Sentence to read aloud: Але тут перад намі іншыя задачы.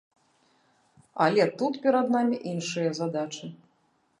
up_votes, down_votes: 2, 0